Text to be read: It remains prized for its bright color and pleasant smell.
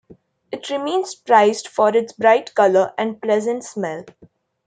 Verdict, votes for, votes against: accepted, 2, 0